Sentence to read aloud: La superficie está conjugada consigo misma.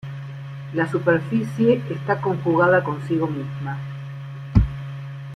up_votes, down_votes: 2, 0